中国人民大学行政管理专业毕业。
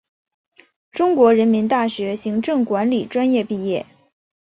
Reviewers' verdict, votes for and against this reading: accepted, 8, 0